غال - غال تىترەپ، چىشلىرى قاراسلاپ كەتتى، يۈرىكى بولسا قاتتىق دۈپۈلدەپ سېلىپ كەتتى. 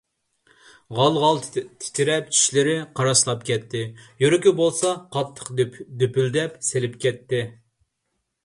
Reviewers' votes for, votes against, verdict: 1, 2, rejected